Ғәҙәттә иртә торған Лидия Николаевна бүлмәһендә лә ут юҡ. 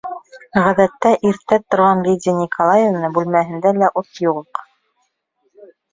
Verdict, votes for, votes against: rejected, 1, 2